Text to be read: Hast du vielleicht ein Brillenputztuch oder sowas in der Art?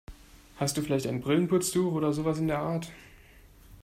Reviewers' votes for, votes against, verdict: 2, 0, accepted